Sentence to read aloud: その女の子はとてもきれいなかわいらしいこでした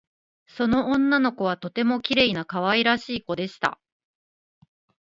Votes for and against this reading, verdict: 2, 0, accepted